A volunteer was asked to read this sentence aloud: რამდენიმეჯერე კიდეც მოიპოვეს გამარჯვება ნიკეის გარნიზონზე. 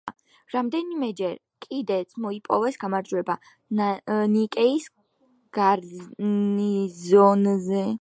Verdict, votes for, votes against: rejected, 0, 2